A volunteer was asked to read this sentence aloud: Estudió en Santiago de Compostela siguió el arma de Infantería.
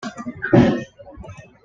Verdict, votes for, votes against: rejected, 1, 2